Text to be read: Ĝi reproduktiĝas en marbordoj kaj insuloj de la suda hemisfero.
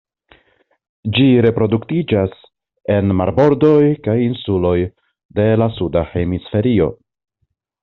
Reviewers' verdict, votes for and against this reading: rejected, 1, 2